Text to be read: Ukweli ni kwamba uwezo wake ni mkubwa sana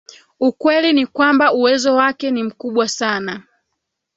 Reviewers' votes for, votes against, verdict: 2, 0, accepted